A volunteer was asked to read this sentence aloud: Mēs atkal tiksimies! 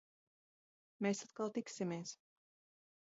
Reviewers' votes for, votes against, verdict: 0, 2, rejected